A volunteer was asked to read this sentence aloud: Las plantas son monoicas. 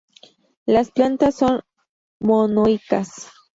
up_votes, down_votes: 0, 2